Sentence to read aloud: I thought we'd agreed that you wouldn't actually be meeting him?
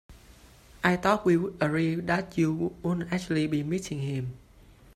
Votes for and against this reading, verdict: 0, 2, rejected